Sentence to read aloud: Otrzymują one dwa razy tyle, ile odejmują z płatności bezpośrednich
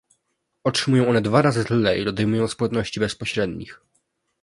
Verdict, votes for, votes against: rejected, 1, 2